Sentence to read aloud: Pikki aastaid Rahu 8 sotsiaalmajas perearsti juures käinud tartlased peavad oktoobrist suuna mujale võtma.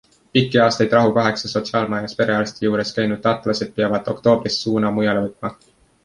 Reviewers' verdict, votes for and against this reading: rejected, 0, 2